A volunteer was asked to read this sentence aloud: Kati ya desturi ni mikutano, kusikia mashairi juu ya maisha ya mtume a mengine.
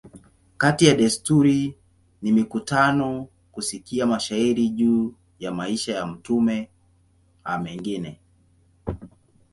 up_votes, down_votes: 2, 0